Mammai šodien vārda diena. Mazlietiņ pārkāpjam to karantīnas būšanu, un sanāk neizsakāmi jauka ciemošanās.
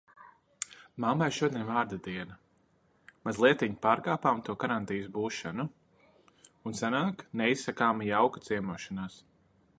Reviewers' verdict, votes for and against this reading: accepted, 2, 0